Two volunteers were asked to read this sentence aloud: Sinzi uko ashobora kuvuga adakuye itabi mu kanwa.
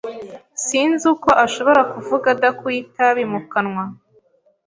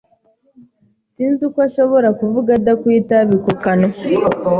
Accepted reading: first